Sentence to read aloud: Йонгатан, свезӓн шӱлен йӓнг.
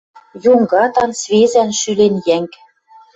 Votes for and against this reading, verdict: 2, 0, accepted